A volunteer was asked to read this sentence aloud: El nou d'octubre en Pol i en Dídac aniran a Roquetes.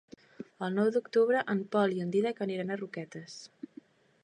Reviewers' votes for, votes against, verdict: 2, 0, accepted